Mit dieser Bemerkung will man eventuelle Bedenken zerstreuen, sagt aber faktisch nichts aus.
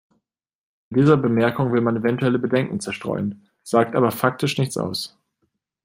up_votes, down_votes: 0, 2